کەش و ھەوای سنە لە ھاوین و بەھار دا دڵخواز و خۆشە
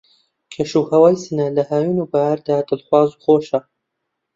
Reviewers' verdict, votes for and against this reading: accepted, 2, 0